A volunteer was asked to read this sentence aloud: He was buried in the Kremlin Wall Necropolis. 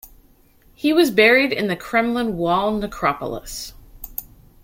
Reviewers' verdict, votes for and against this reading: accepted, 2, 0